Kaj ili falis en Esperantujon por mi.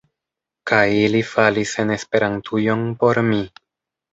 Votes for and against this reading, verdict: 0, 2, rejected